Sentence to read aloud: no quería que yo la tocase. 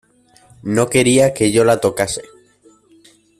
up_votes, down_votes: 2, 0